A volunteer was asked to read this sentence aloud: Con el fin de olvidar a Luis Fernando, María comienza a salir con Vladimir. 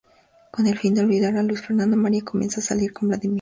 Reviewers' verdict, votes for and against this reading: rejected, 0, 4